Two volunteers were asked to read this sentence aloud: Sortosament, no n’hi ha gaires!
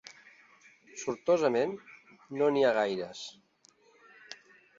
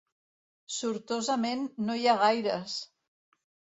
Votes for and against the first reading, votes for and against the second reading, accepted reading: 3, 0, 1, 2, first